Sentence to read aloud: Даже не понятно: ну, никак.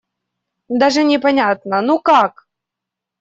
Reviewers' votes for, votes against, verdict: 0, 2, rejected